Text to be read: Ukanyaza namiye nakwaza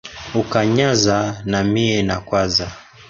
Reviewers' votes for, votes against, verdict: 0, 2, rejected